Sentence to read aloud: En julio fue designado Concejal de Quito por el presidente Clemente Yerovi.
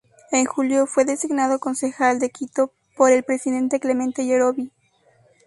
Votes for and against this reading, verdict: 2, 0, accepted